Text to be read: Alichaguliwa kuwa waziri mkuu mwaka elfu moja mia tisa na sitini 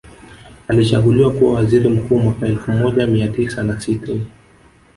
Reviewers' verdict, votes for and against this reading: accepted, 2, 0